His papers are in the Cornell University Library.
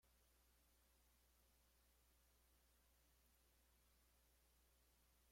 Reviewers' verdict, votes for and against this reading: rejected, 0, 2